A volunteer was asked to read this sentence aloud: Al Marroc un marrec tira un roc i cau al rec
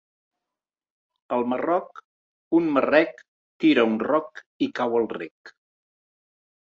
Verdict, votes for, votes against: accepted, 2, 0